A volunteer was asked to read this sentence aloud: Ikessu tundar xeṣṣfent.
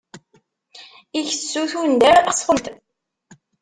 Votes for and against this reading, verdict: 0, 2, rejected